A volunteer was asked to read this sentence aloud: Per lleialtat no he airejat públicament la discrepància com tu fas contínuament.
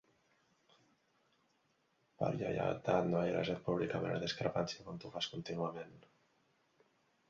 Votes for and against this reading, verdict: 2, 3, rejected